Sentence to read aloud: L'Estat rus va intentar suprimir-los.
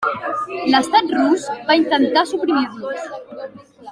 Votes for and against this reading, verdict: 2, 1, accepted